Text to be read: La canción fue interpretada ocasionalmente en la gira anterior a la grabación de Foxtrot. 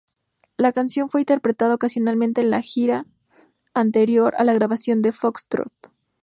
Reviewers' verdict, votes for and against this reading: accepted, 4, 0